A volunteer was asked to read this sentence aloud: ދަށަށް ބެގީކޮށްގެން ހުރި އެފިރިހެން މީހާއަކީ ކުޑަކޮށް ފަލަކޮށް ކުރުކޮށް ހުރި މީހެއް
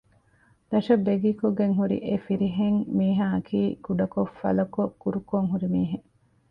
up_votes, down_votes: 2, 1